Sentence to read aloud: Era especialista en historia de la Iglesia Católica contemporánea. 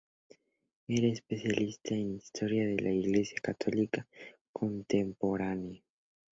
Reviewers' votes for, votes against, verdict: 2, 0, accepted